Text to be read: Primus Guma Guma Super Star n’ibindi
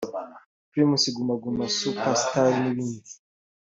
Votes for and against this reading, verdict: 2, 0, accepted